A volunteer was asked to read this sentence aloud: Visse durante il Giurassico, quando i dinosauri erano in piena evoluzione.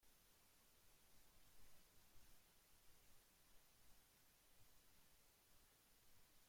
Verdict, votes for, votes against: rejected, 0, 2